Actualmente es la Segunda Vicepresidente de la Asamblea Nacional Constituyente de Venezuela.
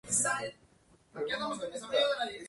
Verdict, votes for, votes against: rejected, 0, 4